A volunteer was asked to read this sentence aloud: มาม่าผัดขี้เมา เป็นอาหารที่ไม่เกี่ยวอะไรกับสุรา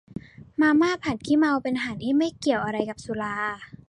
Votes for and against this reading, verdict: 2, 0, accepted